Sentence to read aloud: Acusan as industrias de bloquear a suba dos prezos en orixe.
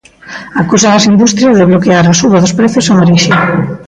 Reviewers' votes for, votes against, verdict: 0, 2, rejected